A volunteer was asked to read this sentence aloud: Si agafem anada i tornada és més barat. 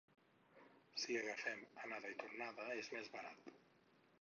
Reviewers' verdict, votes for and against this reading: accepted, 4, 2